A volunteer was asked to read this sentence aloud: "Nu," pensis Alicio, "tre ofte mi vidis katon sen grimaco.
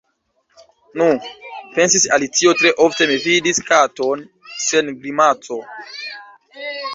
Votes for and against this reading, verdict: 1, 2, rejected